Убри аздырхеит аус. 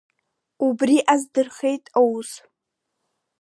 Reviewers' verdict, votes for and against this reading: accepted, 2, 1